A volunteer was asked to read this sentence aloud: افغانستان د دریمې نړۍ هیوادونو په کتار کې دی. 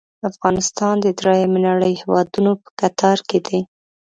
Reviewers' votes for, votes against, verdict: 2, 0, accepted